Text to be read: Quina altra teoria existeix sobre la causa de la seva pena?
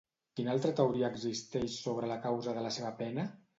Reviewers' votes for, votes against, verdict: 2, 0, accepted